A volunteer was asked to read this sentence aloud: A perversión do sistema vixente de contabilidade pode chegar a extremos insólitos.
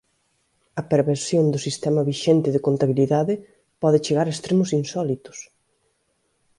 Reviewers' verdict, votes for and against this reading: accepted, 2, 0